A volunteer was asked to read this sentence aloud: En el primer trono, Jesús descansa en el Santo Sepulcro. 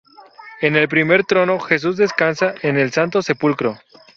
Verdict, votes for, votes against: rejected, 2, 2